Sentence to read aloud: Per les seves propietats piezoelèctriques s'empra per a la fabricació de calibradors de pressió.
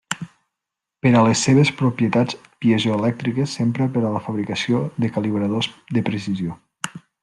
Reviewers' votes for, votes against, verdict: 0, 2, rejected